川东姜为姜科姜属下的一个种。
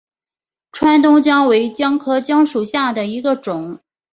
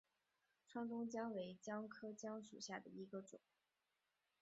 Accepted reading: first